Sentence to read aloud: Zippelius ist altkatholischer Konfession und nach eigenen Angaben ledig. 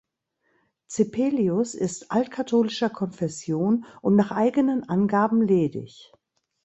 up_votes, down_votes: 2, 0